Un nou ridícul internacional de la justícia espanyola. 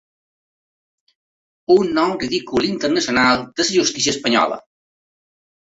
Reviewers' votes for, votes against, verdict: 1, 3, rejected